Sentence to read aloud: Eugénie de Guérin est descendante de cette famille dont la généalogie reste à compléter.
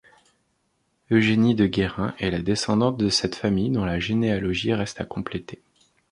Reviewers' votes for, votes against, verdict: 1, 2, rejected